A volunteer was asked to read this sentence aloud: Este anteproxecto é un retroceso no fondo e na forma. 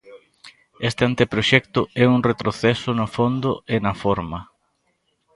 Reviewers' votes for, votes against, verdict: 2, 0, accepted